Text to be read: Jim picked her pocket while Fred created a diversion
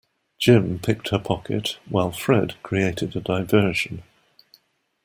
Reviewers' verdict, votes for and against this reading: accepted, 2, 0